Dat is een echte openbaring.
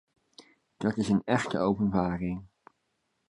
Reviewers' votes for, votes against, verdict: 2, 0, accepted